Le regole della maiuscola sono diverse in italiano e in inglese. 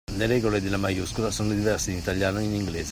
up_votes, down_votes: 2, 0